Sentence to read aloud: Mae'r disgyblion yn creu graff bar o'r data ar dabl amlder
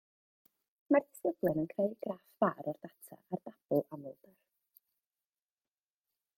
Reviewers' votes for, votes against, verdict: 0, 2, rejected